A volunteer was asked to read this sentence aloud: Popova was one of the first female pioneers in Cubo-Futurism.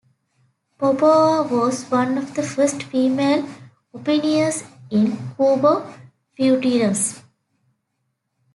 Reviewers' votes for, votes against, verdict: 0, 2, rejected